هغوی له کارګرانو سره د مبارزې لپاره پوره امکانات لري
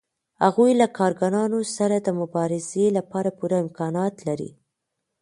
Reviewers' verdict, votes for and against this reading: accepted, 2, 0